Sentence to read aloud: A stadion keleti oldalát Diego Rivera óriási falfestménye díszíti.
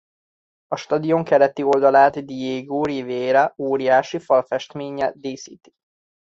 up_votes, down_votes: 2, 0